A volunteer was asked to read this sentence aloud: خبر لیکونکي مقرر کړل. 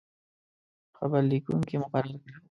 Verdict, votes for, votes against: rejected, 1, 2